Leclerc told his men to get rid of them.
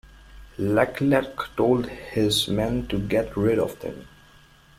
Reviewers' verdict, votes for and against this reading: accepted, 2, 0